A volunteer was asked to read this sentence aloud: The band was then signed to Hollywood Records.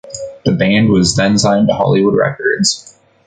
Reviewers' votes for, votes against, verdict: 2, 0, accepted